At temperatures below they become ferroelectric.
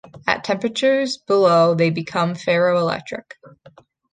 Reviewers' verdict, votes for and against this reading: accepted, 3, 0